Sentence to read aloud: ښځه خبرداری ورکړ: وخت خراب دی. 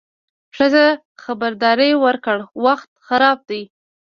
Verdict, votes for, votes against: rejected, 1, 2